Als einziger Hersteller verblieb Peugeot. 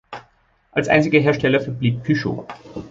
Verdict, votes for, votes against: accepted, 2, 0